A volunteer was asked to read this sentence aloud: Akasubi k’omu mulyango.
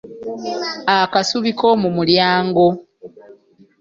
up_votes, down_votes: 2, 0